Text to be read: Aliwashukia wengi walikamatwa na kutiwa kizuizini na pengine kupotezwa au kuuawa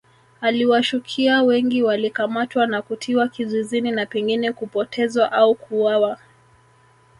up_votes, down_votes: 1, 2